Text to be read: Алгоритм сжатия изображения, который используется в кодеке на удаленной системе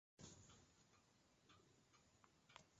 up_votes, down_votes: 0, 2